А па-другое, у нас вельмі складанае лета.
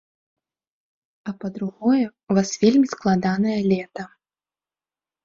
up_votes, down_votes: 1, 2